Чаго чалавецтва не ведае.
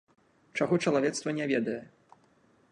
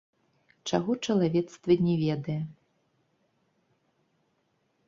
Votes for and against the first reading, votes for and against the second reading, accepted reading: 3, 0, 1, 3, first